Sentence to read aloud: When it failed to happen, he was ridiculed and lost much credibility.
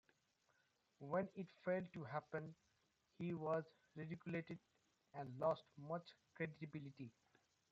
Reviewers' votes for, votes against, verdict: 1, 2, rejected